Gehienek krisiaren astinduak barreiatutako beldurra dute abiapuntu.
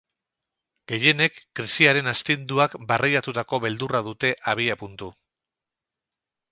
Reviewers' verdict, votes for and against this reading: rejected, 2, 2